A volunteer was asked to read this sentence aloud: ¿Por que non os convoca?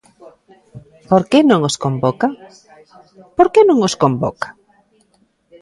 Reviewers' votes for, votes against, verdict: 0, 3, rejected